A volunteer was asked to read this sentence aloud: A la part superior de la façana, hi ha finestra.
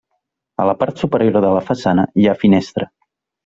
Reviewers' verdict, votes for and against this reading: rejected, 1, 2